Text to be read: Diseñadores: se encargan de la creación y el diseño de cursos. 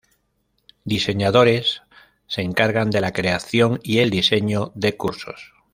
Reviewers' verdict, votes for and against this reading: accepted, 2, 0